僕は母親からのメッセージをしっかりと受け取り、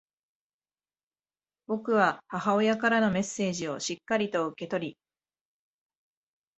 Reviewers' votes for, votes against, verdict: 1, 2, rejected